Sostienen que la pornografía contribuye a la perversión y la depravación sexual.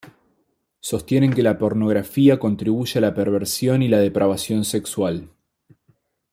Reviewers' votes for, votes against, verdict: 2, 0, accepted